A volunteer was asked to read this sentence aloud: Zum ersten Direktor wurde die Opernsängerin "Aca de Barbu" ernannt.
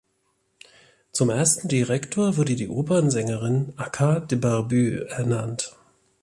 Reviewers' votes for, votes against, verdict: 2, 1, accepted